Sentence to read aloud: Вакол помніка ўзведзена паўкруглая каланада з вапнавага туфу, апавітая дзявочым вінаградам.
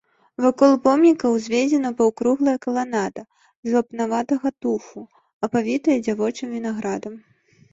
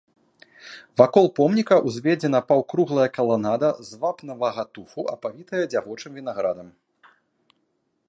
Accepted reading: second